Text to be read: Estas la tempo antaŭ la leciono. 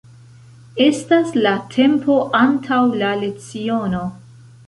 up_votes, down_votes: 2, 0